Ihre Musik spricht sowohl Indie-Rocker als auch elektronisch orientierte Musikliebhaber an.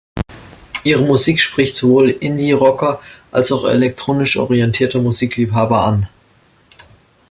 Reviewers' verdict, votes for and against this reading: accepted, 2, 0